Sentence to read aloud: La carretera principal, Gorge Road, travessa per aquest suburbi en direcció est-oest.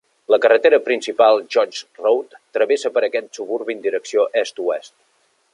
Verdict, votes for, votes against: accepted, 2, 0